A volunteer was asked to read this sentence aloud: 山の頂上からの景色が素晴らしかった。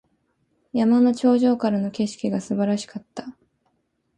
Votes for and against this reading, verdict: 3, 0, accepted